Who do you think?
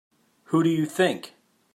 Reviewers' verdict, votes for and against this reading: accepted, 3, 0